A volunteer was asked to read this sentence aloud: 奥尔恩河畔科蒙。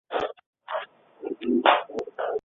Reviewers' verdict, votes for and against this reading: rejected, 0, 2